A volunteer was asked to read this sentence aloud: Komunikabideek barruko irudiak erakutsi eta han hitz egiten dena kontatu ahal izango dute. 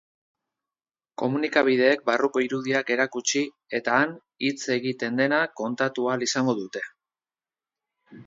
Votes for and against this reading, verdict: 2, 0, accepted